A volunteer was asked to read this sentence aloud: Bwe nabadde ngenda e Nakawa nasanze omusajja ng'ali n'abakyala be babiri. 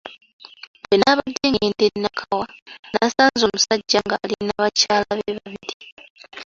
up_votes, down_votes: 1, 2